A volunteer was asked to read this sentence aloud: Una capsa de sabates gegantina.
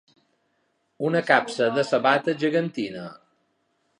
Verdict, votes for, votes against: accepted, 2, 0